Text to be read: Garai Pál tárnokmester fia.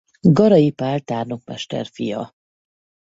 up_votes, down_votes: 4, 0